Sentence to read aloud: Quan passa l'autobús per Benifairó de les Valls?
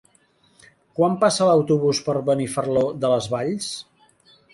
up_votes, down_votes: 0, 2